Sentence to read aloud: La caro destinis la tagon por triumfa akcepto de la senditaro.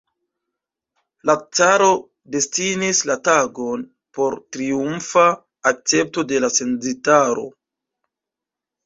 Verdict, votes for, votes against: rejected, 0, 2